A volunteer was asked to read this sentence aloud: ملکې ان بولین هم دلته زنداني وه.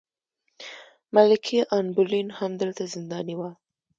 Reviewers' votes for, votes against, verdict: 1, 2, rejected